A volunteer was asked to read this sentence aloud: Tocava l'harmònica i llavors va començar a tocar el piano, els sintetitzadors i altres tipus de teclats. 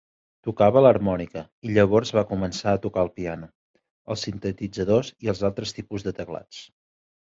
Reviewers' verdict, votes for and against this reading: rejected, 0, 2